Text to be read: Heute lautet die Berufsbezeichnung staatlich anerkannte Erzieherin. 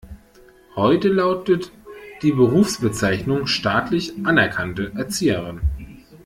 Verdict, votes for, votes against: accepted, 2, 0